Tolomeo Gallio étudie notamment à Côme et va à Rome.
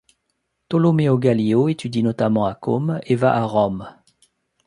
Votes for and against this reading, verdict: 3, 0, accepted